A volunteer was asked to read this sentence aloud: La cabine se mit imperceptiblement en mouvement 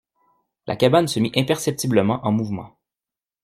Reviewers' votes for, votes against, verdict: 0, 2, rejected